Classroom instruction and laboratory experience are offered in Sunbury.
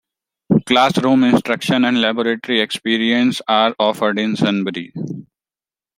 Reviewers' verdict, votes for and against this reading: accepted, 2, 0